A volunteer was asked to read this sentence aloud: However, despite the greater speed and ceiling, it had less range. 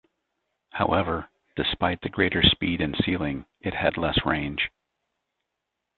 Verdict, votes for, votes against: accepted, 2, 0